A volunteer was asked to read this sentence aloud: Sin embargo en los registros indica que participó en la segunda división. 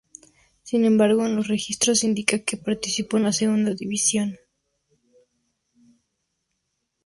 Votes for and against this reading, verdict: 2, 0, accepted